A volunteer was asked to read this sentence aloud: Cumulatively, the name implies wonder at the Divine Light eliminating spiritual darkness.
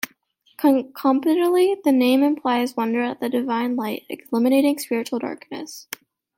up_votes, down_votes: 2, 1